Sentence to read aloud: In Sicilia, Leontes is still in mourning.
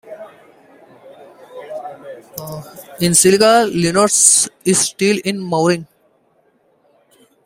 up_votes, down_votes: 0, 2